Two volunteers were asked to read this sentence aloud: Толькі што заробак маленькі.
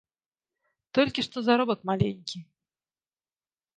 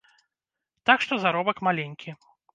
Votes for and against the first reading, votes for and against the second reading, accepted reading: 3, 0, 1, 2, first